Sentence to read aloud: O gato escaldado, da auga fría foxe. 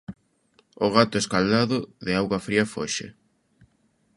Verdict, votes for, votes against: rejected, 0, 2